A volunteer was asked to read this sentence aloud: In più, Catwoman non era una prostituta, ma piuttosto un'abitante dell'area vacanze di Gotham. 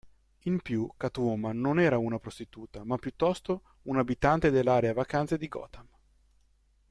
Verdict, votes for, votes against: accepted, 2, 0